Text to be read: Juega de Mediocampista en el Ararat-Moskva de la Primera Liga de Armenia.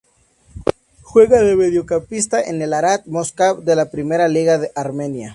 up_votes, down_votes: 2, 0